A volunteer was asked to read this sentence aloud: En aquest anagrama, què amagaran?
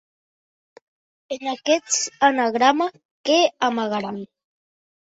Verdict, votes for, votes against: rejected, 1, 2